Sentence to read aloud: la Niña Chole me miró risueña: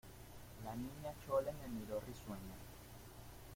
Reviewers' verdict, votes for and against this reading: rejected, 1, 2